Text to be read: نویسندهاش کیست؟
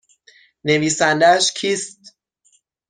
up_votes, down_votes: 6, 0